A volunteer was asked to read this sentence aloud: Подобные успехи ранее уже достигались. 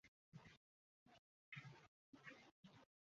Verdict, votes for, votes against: rejected, 0, 2